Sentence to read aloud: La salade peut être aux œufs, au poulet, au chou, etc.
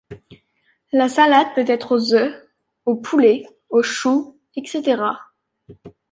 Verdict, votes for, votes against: accepted, 2, 0